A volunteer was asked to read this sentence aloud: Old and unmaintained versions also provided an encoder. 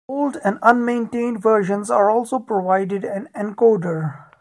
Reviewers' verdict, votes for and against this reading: rejected, 1, 2